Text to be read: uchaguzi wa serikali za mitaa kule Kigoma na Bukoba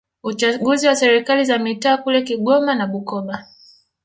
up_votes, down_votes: 2, 0